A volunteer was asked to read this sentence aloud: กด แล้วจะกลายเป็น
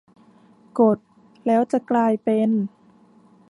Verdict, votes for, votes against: accepted, 2, 0